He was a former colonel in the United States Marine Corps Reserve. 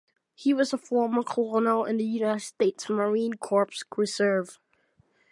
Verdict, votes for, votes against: rejected, 0, 2